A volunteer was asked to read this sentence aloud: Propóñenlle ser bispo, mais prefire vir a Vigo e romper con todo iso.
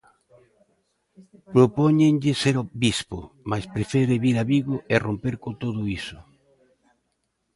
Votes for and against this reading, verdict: 2, 1, accepted